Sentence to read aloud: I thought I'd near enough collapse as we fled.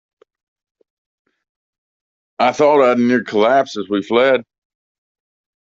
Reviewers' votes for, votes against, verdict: 1, 2, rejected